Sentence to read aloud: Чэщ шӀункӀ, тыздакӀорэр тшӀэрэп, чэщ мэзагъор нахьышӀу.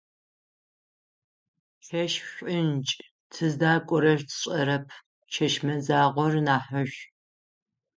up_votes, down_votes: 3, 6